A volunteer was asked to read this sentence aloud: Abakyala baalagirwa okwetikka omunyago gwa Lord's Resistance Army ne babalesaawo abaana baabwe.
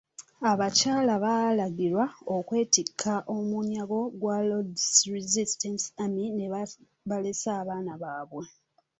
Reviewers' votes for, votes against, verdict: 0, 2, rejected